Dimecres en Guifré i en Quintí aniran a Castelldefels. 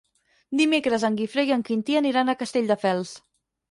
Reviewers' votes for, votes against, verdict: 6, 0, accepted